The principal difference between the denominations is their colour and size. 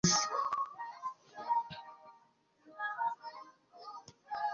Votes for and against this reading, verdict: 0, 2, rejected